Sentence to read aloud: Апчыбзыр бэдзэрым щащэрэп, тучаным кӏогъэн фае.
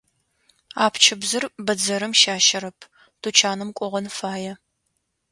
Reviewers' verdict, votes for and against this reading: accepted, 2, 0